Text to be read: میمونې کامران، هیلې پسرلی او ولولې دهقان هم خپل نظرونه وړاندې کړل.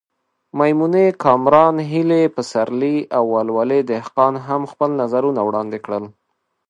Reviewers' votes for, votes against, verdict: 2, 0, accepted